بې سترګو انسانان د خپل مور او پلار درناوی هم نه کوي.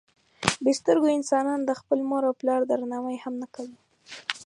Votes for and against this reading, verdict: 6, 0, accepted